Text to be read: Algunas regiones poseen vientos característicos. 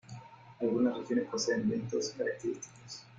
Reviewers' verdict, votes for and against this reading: rejected, 1, 2